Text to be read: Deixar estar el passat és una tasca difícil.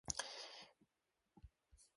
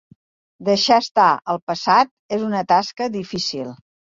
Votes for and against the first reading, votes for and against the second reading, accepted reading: 0, 2, 3, 0, second